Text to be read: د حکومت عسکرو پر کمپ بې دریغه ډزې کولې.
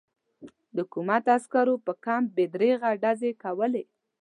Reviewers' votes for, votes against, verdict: 2, 0, accepted